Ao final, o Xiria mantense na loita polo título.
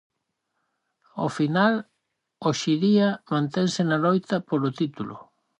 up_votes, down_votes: 2, 2